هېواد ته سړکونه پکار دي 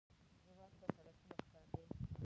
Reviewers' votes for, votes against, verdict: 0, 2, rejected